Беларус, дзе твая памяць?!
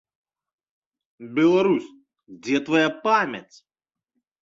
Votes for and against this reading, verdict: 2, 0, accepted